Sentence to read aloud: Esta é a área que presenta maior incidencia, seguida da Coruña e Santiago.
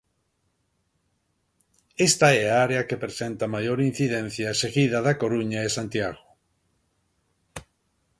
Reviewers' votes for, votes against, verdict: 2, 0, accepted